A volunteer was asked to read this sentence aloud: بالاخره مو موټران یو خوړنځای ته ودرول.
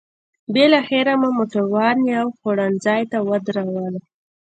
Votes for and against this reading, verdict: 2, 0, accepted